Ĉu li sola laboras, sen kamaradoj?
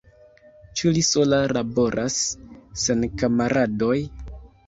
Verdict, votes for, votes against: rejected, 1, 2